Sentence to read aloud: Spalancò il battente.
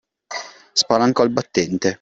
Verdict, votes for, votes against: accepted, 2, 0